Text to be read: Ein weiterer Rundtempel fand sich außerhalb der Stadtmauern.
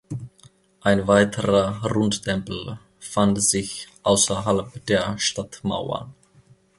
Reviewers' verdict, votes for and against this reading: accepted, 2, 0